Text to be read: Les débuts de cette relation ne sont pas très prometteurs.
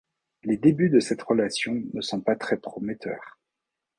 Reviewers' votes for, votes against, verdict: 2, 0, accepted